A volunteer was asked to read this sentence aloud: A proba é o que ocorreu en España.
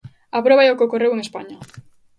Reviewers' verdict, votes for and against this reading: accepted, 2, 0